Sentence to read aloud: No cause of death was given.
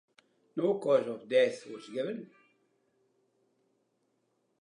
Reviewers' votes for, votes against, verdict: 2, 0, accepted